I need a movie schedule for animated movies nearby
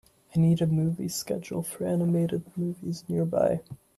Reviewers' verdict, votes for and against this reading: accepted, 2, 0